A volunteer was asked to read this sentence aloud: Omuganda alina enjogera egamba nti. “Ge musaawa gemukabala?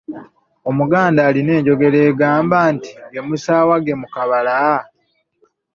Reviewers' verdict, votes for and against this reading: accepted, 2, 0